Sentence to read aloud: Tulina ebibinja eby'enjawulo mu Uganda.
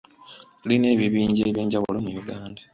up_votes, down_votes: 1, 2